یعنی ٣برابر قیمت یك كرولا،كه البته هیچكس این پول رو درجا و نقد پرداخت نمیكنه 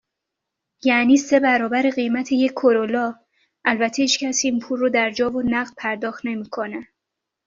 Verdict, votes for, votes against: rejected, 0, 2